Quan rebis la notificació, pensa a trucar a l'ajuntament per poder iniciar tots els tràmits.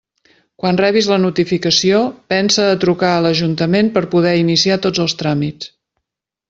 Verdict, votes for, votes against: accepted, 5, 0